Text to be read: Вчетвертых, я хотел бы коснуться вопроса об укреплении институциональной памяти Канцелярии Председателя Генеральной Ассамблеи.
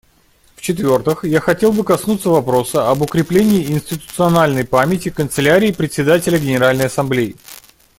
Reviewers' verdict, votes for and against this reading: rejected, 1, 2